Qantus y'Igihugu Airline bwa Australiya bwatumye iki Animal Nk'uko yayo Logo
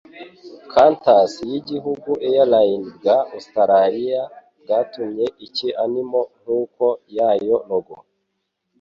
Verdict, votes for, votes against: accepted, 2, 0